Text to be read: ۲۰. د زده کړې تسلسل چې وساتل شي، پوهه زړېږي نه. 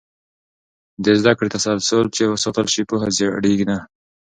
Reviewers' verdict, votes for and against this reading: rejected, 0, 2